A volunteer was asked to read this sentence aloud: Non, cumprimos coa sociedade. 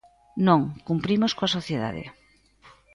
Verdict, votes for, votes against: accepted, 2, 0